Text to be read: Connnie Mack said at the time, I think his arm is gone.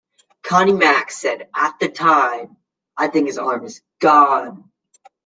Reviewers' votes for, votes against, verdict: 2, 0, accepted